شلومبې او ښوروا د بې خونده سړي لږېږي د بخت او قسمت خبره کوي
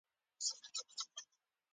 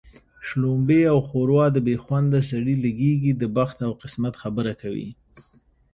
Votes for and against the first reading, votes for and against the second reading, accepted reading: 0, 2, 2, 0, second